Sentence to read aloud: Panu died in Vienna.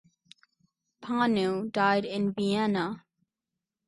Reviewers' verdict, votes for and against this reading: rejected, 0, 2